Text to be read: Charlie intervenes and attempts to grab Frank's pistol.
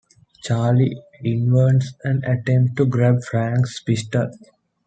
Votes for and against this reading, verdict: 0, 2, rejected